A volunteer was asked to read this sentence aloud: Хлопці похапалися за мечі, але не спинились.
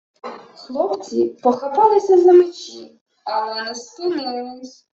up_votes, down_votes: 0, 2